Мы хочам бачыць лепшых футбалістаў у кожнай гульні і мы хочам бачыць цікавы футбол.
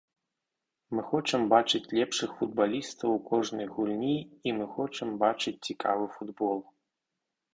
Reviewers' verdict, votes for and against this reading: accepted, 4, 0